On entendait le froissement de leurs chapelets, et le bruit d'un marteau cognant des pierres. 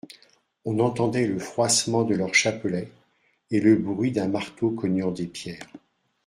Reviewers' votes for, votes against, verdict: 2, 0, accepted